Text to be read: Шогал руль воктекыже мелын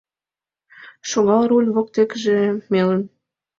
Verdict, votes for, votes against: accepted, 2, 0